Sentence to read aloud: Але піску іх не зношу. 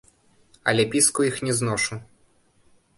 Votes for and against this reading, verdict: 1, 2, rejected